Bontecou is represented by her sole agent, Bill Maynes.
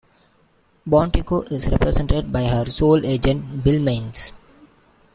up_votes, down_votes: 2, 0